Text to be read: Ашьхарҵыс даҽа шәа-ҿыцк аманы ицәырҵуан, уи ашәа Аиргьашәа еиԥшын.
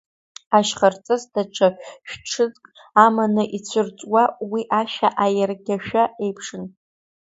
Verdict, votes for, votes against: rejected, 0, 3